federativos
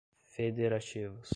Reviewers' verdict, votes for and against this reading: accepted, 2, 0